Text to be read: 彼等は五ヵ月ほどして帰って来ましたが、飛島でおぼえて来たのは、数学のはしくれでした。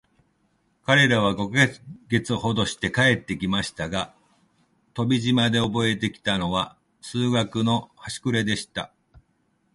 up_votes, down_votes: 2, 1